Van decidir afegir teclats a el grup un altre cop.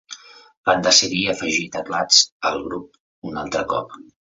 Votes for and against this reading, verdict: 2, 0, accepted